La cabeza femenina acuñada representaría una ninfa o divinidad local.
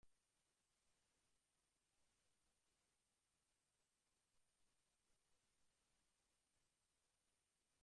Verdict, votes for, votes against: rejected, 0, 2